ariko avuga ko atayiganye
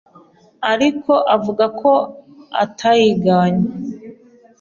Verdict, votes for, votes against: accepted, 2, 0